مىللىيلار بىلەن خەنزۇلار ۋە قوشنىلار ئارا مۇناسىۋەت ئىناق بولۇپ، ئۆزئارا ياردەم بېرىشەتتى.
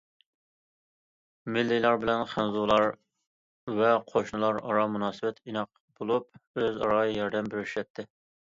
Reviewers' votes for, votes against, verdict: 2, 0, accepted